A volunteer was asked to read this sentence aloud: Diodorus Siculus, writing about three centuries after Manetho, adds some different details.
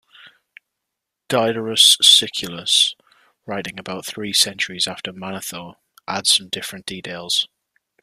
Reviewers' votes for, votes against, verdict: 2, 0, accepted